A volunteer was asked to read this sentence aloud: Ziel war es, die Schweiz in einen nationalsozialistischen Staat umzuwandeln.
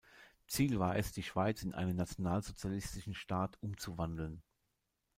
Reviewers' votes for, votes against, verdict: 2, 1, accepted